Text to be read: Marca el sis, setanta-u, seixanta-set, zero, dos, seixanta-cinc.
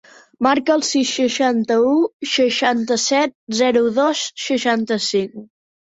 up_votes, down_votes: 1, 2